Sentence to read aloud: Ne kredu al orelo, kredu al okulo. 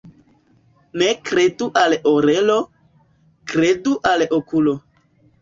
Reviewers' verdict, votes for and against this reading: rejected, 1, 2